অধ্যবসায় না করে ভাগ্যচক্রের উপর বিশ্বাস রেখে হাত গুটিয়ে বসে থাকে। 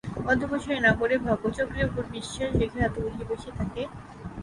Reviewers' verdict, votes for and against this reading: accepted, 3, 0